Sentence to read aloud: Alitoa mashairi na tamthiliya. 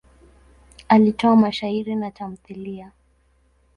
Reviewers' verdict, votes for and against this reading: rejected, 1, 2